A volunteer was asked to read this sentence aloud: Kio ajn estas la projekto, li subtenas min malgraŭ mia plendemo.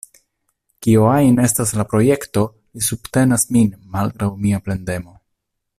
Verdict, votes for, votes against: rejected, 1, 2